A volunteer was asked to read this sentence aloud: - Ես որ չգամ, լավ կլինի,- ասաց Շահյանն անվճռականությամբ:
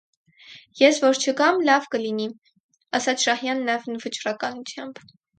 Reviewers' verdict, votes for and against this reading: accepted, 4, 0